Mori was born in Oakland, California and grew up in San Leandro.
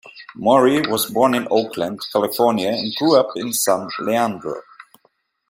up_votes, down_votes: 0, 2